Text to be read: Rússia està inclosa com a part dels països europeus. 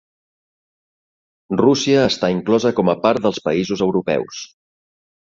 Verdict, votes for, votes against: accepted, 3, 0